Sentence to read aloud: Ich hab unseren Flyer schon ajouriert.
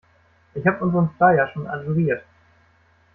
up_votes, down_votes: 1, 2